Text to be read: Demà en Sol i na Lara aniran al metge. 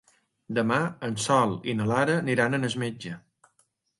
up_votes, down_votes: 1, 2